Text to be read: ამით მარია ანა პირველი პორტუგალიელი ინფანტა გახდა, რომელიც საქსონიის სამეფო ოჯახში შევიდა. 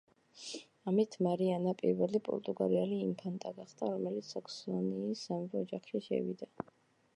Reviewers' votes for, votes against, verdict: 0, 2, rejected